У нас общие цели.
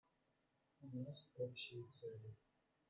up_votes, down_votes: 0, 2